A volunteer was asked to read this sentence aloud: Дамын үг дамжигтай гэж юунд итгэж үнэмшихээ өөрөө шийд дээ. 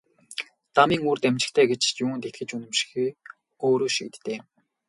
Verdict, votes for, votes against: rejected, 0, 2